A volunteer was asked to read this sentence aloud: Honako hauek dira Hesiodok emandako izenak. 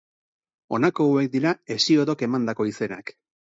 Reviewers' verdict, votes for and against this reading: accepted, 6, 0